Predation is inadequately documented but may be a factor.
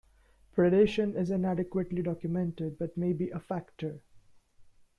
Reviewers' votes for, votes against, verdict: 0, 2, rejected